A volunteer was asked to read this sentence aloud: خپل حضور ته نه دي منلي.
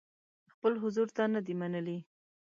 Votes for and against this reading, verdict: 2, 0, accepted